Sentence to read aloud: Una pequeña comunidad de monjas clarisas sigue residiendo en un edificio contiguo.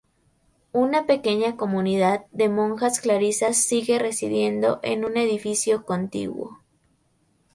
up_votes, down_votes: 0, 2